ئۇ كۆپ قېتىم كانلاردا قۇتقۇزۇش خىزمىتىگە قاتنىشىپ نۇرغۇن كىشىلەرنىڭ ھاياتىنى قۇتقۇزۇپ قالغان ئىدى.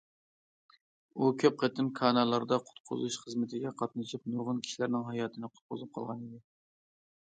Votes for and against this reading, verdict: 0, 2, rejected